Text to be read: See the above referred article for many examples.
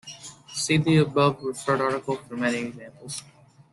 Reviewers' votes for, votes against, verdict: 2, 0, accepted